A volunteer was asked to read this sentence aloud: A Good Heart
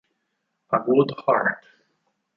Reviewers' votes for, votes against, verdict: 2, 4, rejected